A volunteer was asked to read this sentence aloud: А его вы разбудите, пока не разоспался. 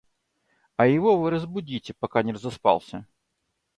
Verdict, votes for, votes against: accepted, 2, 0